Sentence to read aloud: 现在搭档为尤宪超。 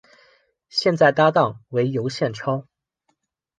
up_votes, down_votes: 2, 0